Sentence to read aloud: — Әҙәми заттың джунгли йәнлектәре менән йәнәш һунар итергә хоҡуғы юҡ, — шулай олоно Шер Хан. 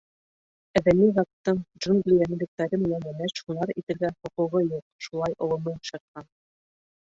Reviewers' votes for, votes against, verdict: 1, 2, rejected